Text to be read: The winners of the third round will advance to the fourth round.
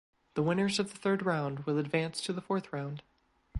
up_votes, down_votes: 2, 0